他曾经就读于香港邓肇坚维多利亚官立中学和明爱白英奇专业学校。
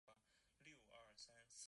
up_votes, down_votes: 0, 2